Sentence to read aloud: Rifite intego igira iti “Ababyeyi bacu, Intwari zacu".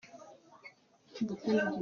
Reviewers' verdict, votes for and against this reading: rejected, 0, 2